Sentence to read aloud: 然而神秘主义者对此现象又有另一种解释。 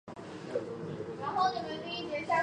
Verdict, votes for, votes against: rejected, 0, 2